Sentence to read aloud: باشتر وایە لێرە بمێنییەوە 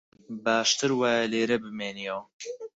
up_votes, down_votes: 4, 0